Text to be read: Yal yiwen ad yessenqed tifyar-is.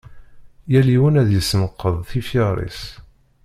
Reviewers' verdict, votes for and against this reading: rejected, 0, 2